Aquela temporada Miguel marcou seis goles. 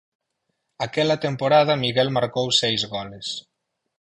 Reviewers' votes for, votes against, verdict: 8, 0, accepted